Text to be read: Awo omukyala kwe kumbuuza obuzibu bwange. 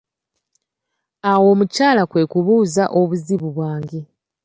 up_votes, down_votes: 0, 2